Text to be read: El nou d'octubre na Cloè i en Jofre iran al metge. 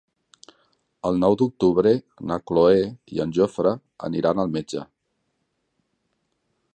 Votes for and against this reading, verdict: 0, 2, rejected